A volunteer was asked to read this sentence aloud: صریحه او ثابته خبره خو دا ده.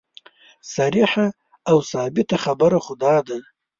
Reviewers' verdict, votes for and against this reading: accepted, 3, 0